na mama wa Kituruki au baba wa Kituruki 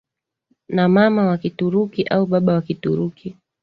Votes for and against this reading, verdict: 2, 1, accepted